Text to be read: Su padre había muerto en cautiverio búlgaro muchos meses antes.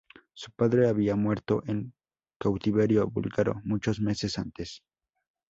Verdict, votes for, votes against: accepted, 2, 0